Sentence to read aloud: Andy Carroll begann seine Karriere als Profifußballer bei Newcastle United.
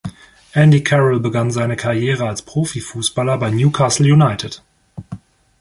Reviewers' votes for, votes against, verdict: 2, 0, accepted